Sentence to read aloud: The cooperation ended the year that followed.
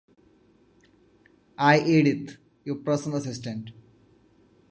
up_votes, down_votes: 0, 2